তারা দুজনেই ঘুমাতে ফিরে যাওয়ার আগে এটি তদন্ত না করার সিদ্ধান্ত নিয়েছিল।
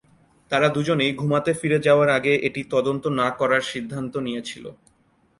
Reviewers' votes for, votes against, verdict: 2, 0, accepted